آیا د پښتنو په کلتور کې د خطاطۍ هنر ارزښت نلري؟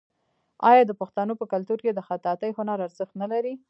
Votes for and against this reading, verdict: 0, 2, rejected